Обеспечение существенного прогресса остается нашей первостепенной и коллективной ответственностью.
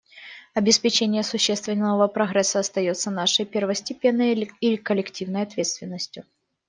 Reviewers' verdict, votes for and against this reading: rejected, 0, 2